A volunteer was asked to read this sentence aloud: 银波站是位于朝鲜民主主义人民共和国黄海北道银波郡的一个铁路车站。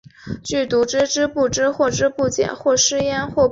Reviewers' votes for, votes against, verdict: 0, 3, rejected